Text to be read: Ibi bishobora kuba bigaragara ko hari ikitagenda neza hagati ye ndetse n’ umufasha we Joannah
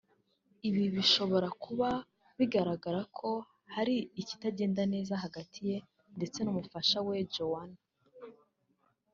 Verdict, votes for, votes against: accepted, 4, 0